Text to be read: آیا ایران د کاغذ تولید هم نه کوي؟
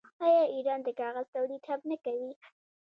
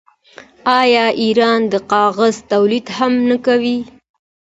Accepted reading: second